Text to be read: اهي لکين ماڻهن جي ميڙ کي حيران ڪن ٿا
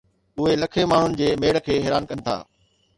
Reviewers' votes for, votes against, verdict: 2, 0, accepted